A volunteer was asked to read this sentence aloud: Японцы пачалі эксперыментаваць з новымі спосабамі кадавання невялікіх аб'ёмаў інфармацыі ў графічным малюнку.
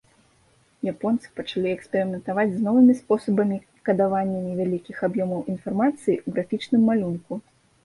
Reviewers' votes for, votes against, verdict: 3, 0, accepted